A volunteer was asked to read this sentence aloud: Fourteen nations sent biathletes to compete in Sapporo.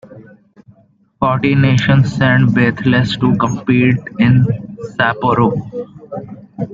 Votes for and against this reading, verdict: 1, 2, rejected